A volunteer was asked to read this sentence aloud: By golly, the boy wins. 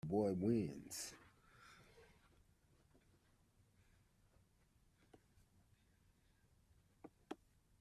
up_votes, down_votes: 0, 2